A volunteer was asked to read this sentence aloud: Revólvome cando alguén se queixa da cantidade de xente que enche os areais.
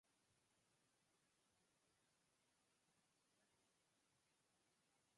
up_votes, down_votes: 0, 4